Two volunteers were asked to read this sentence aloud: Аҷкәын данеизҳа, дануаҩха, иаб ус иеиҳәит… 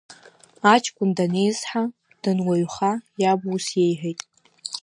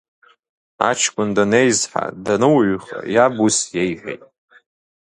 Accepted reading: second